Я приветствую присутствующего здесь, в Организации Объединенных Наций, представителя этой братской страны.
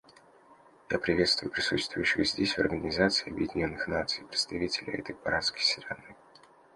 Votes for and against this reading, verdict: 1, 2, rejected